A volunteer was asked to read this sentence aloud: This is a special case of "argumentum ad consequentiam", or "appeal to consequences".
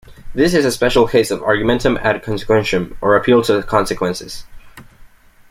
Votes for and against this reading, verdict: 2, 0, accepted